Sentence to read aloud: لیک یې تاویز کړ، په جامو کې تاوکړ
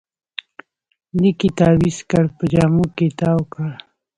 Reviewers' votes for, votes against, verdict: 2, 0, accepted